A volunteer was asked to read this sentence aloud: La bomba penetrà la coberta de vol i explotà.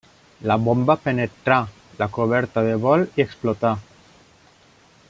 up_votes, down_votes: 3, 0